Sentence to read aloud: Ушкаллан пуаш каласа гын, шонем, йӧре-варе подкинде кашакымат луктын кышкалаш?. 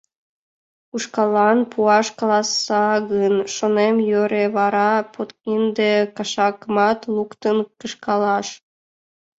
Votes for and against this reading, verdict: 1, 2, rejected